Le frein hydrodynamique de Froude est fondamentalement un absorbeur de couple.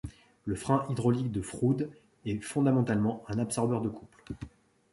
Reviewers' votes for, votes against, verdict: 1, 2, rejected